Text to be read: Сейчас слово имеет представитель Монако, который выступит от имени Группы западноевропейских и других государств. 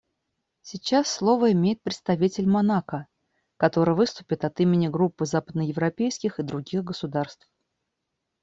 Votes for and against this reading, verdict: 2, 0, accepted